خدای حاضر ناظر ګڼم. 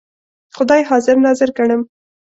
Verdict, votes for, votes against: accepted, 2, 0